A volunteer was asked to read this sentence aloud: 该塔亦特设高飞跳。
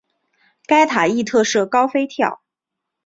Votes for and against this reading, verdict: 8, 0, accepted